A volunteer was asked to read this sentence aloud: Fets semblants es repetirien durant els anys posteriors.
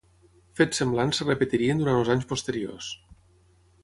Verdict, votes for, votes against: rejected, 0, 3